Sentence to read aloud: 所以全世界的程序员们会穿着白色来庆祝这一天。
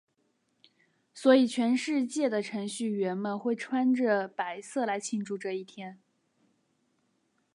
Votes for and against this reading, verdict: 3, 0, accepted